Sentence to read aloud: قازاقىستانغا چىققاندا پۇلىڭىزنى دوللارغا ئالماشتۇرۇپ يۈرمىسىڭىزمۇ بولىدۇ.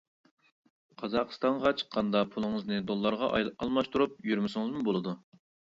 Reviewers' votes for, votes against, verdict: 0, 2, rejected